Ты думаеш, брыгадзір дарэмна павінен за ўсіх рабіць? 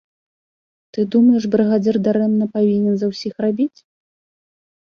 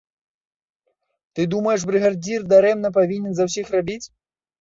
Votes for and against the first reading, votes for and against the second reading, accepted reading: 2, 0, 1, 2, first